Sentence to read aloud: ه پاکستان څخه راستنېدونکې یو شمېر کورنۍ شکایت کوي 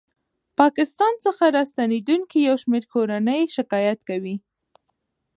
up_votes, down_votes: 2, 0